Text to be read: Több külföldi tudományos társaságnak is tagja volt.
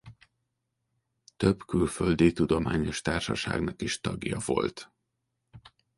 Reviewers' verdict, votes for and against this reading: accepted, 3, 0